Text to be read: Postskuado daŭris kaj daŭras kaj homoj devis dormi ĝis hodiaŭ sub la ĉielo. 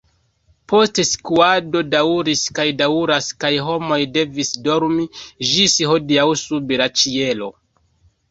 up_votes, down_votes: 3, 0